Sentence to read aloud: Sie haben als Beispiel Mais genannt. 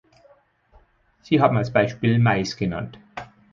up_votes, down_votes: 4, 0